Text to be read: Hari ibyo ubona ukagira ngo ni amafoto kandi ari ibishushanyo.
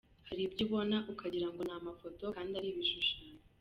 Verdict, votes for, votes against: accepted, 2, 0